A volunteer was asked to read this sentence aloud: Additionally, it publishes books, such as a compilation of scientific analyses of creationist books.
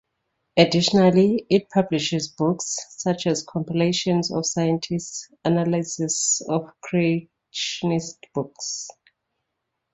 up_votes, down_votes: 2, 0